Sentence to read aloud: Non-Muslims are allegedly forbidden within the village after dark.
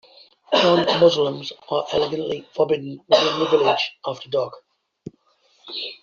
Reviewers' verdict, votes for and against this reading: rejected, 0, 2